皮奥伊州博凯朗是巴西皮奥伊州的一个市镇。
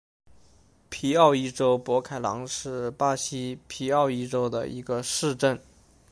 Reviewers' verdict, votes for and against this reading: accepted, 2, 0